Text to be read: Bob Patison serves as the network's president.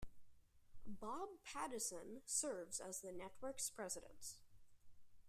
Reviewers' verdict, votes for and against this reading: accepted, 2, 0